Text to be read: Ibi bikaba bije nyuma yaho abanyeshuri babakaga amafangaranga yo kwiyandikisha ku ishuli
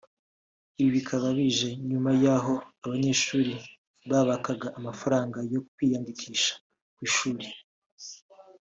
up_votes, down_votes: 2, 0